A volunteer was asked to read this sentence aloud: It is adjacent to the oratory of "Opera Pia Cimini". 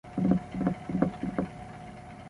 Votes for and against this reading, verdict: 0, 2, rejected